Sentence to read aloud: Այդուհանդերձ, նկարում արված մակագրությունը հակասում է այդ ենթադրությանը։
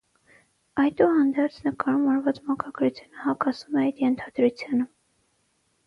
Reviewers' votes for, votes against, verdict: 3, 6, rejected